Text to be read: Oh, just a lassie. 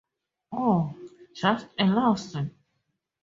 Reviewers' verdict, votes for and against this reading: accepted, 2, 0